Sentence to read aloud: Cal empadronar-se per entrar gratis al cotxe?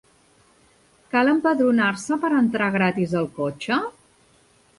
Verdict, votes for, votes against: accepted, 4, 0